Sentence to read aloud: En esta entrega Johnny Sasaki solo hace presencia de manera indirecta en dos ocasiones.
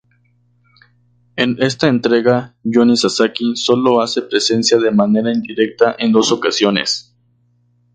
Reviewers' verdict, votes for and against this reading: accepted, 6, 0